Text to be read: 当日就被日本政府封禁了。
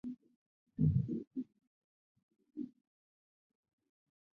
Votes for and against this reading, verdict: 0, 6, rejected